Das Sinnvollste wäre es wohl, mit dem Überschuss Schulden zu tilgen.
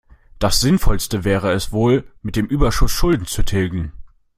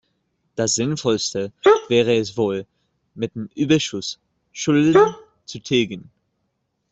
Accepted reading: first